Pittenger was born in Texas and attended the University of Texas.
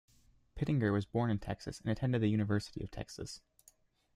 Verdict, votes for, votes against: accepted, 2, 0